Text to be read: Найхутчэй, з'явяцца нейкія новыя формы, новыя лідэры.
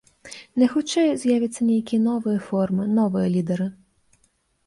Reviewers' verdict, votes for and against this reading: accepted, 2, 0